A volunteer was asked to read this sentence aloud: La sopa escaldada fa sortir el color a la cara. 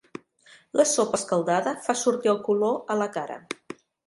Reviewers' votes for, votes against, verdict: 2, 0, accepted